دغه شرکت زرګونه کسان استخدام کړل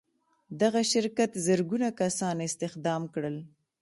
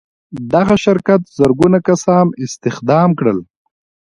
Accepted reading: second